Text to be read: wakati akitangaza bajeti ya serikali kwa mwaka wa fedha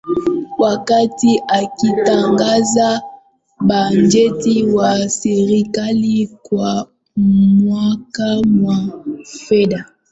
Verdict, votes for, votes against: rejected, 0, 2